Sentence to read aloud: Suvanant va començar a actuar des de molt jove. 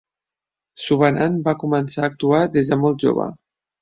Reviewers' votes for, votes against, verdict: 4, 0, accepted